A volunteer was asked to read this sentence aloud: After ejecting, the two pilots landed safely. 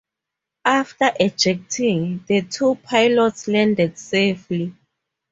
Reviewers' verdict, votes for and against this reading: accepted, 2, 0